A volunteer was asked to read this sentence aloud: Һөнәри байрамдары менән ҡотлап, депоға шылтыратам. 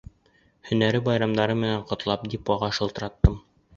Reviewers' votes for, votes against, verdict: 1, 2, rejected